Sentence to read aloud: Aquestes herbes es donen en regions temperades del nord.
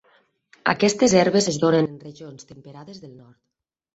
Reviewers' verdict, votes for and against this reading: rejected, 0, 4